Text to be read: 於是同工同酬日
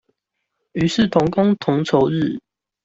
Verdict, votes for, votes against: accepted, 2, 1